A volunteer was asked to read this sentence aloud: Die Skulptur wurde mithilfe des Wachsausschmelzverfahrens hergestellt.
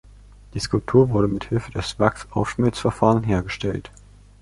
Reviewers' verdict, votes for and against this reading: accepted, 2, 1